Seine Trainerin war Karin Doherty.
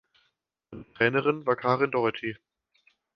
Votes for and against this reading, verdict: 0, 2, rejected